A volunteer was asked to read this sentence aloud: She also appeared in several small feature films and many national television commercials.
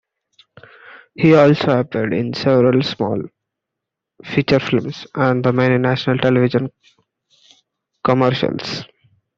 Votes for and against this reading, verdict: 0, 2, rejected